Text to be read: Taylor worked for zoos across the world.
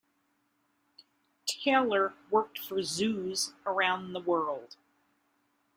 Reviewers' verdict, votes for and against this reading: rejected, 0, 2